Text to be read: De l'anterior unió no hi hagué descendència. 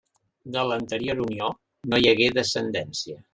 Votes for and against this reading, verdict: 2, 0, accepted